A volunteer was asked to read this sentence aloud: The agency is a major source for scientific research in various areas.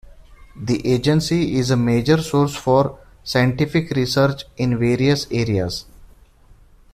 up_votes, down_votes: 2, 1